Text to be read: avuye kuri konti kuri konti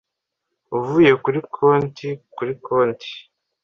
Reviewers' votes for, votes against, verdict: 2, 0, accepted